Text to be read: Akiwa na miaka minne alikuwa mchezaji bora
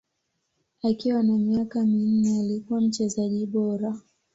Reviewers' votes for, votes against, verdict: 2, 0, accepted